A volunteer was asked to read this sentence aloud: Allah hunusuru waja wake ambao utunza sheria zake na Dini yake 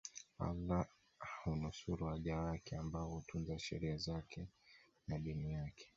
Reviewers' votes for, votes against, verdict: 2, 0, accepted